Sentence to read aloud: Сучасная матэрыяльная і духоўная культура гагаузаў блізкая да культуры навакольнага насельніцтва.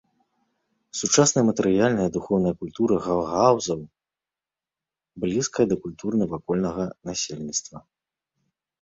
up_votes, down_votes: 1, 2